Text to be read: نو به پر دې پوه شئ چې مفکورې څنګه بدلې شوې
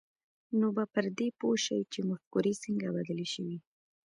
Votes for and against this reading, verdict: 0, 2, rejected